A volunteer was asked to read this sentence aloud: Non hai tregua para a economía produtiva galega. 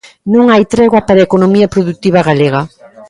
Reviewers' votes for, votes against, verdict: 3, 0, accepted